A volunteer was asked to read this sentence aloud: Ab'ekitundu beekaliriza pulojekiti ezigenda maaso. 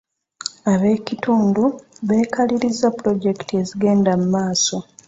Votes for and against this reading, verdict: 0, 2, rejected